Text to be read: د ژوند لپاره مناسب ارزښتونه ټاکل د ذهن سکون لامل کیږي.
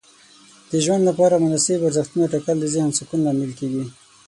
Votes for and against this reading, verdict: 9, 0, accepted